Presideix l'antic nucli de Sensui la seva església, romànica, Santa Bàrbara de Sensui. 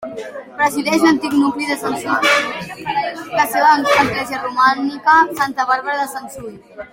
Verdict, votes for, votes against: rejected, 1, 2